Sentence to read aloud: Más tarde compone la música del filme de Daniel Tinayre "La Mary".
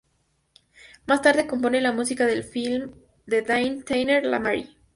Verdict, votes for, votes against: accepted, 2, 0